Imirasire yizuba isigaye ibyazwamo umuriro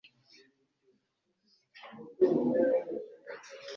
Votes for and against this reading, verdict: 1, 2, rejected